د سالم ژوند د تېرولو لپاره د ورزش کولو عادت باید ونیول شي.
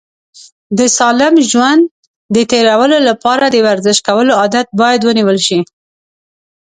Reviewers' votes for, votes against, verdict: 2, 0, accepted